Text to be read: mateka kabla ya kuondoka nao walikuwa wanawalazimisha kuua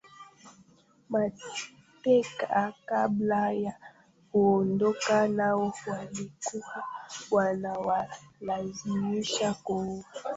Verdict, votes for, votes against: rejected, 0, 2